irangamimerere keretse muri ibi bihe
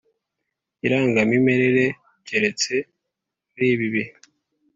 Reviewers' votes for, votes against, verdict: 2, 0, accepted